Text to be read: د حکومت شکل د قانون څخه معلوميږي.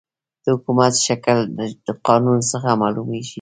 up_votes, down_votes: 1, 2